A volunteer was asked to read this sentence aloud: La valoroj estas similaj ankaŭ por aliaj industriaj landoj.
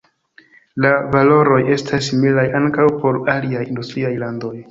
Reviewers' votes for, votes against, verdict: 1, 2, rejected